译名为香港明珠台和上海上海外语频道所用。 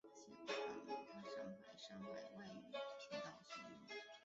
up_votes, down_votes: 1, 2